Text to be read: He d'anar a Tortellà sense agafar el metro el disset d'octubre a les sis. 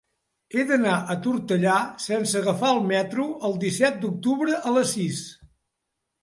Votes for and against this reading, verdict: 2, 0, accepted